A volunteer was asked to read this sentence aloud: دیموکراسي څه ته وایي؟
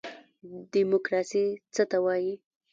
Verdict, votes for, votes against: rejected, 1, 2